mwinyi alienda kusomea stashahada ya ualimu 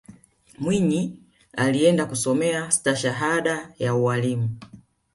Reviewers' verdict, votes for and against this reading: accepted, 2, 0